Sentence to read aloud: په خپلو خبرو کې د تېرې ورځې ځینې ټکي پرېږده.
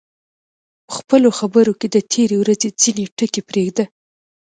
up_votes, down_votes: 2, 0